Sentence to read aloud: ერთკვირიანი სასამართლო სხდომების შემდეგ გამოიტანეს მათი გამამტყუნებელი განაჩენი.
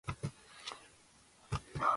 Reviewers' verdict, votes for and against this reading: rejected, 1, 2